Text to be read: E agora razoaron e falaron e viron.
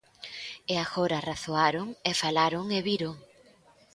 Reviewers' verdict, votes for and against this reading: accepted, 2, 0